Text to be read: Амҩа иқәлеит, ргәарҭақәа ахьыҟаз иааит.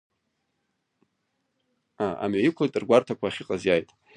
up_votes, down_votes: 0, 2